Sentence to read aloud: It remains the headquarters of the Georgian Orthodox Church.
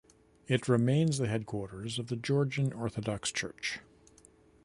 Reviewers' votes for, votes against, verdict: 2, 0, accepted